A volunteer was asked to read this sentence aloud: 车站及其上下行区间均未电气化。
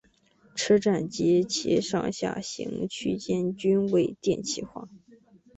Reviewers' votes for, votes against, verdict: 2, 0, accepted